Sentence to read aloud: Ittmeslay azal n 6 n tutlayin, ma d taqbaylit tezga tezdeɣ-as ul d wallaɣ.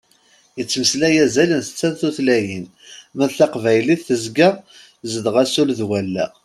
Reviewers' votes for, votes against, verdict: 0, 2, rejected